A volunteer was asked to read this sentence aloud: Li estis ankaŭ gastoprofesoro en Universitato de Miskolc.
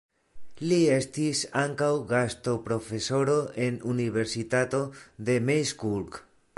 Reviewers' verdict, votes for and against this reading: rejected, 0, 2